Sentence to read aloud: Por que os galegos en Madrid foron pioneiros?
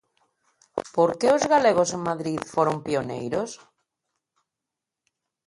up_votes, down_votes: 2, 0